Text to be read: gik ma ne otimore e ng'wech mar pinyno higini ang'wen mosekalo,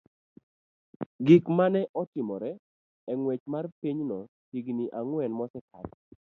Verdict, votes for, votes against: rejected, 0, 2